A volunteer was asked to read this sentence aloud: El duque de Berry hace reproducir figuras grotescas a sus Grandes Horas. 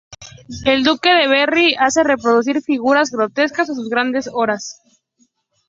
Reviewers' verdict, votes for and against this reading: accepted, 2, 0